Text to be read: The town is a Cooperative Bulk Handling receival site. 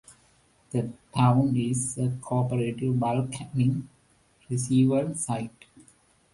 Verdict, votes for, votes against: accepted, 2, 1